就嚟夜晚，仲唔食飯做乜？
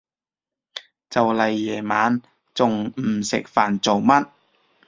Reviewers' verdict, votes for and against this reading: accepted, 3, 0